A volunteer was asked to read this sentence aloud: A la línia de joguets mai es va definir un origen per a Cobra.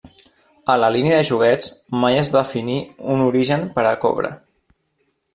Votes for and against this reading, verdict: 1, 2, rejected